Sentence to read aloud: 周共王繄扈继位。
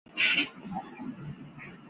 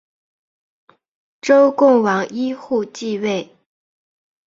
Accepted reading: second